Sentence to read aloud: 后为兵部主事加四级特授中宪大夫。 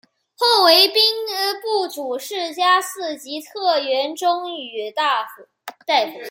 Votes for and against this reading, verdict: 0, 2, rejected